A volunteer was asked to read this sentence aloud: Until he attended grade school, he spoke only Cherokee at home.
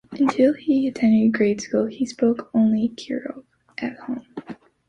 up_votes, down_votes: 0, 2